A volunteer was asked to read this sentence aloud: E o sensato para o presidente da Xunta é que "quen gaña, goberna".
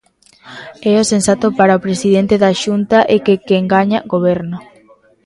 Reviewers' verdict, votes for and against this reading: rejected, 0, 2